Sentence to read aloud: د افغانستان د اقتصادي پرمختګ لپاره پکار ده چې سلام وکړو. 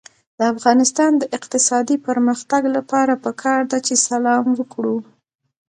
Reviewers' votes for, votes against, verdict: 0, 2, rejected